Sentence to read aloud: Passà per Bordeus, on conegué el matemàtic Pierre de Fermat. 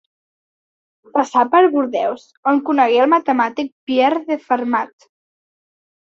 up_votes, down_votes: 2, 0